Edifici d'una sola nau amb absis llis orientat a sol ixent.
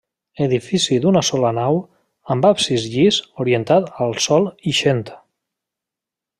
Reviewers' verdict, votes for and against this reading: rejected, 1, 2